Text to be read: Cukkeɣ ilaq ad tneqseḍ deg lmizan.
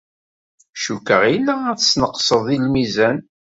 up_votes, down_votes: 2, 3